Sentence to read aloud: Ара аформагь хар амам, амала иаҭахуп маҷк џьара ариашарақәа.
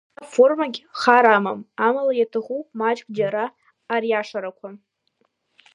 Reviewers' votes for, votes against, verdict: 2, 0, accepted